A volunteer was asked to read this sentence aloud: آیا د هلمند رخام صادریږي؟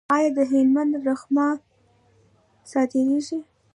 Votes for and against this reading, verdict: 2, 0, accepted